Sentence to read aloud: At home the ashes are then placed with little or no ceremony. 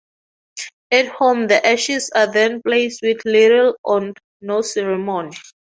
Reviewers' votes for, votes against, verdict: 4, 2, accepted